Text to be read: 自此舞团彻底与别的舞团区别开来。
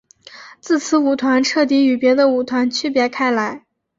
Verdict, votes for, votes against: accepted, 2, 0